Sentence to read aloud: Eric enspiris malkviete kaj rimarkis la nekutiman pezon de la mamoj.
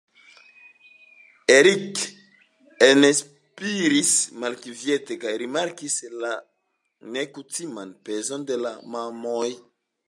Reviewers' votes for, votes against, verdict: 2, 0, accepted